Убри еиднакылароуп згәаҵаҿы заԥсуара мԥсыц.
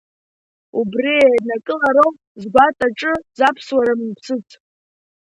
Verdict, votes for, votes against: rejected, 0, 3